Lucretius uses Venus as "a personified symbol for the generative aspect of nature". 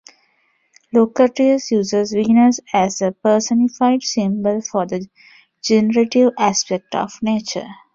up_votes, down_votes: 0, 2